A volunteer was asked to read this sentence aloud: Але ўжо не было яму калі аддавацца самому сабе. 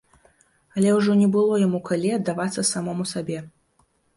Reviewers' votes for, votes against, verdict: 2, 0, accepted